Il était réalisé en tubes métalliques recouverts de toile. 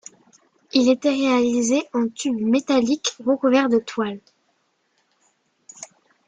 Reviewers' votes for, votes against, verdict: 2, 0, accepted